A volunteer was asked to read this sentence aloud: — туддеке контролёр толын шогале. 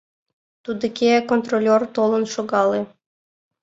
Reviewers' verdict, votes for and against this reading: rejected, 1, 3